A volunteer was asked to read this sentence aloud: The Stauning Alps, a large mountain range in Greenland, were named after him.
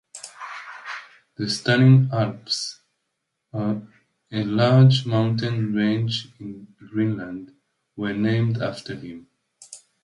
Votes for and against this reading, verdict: 0, 2, rejected